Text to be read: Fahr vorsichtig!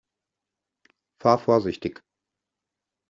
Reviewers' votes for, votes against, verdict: 2, 0, accepted